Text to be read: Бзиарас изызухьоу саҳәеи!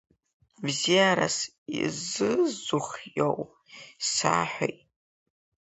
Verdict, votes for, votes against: rejected, 1, 3